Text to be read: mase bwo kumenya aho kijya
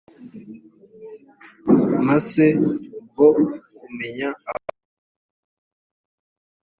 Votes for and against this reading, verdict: 1, 2, rejected